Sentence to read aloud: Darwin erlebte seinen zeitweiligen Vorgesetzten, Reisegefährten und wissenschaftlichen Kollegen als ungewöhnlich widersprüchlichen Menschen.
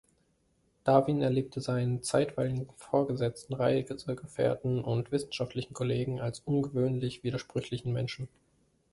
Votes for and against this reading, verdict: 1, 2, rejected